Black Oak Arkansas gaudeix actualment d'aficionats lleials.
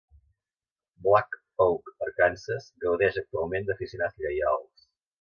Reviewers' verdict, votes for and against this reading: rejected, 2, 3